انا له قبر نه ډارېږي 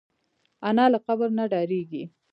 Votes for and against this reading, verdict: 2, 0, accepted